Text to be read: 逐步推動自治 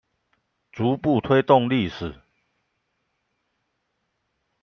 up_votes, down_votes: 0, 2